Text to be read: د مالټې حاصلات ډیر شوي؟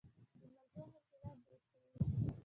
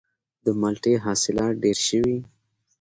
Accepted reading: second